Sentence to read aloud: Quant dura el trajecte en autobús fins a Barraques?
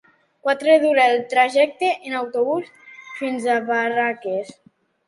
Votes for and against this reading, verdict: 0, 3, rejected